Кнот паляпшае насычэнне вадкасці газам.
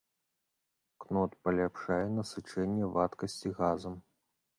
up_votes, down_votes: 2, 0